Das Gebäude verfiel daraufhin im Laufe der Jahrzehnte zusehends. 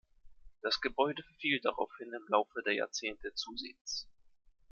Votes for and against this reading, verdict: 2, 0, accepted